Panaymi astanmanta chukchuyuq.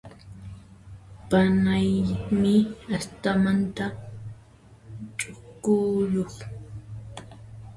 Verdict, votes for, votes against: rejected, 1, 2